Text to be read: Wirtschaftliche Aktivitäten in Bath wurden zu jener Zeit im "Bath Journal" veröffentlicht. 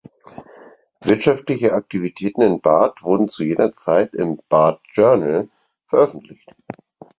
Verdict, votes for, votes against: accepted, 4, 2